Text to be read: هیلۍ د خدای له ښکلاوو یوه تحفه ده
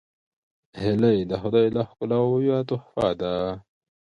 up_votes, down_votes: 2, 1